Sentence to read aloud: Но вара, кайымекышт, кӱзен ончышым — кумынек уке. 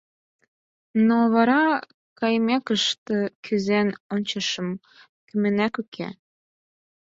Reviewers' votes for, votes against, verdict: 0, 4, rejected